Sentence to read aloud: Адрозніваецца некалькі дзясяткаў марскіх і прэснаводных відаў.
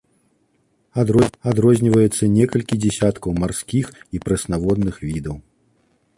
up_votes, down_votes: 0, 3